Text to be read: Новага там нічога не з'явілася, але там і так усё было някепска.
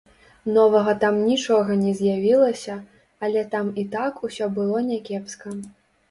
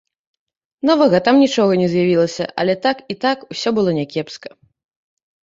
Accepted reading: first